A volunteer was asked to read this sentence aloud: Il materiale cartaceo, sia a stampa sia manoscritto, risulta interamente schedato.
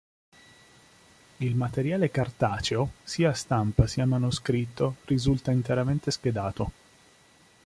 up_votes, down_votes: 2, 0